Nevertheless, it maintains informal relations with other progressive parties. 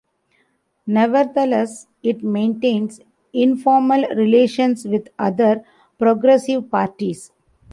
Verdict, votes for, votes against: accepted, 2, 1